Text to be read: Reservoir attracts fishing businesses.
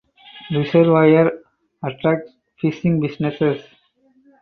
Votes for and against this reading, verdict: 0, 2, rejected